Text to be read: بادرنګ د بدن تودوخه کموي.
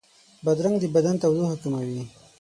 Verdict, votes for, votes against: accepted, 6, 0